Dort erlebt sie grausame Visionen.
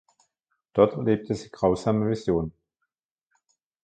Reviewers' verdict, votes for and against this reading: rejected, 0, 2